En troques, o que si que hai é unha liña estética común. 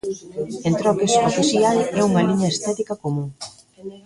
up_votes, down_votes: 1, 2